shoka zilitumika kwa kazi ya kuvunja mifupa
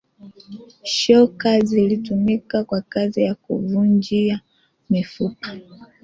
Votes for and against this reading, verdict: 0, 2, rejected